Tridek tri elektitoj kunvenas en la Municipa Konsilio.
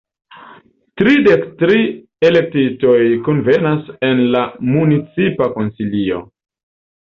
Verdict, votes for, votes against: rejected, 0, 3